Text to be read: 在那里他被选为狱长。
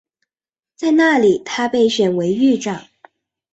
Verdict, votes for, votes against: accepted, 2, 0